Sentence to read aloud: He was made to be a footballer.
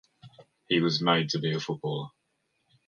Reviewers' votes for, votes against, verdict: 2, 0, accepted